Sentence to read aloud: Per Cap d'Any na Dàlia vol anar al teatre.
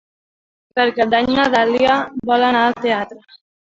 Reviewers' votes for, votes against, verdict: 0, 2, rejected